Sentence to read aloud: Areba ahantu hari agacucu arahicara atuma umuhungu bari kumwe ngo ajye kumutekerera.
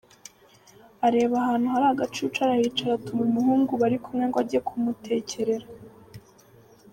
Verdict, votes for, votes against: accepted, 3, 0